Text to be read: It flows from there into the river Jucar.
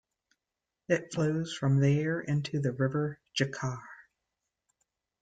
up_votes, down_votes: 3, 0